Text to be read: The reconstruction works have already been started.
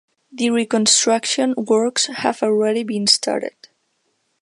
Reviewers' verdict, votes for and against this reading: accepted, 2, 1